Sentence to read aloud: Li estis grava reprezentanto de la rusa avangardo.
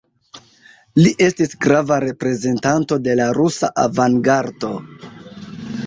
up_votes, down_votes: 2, 1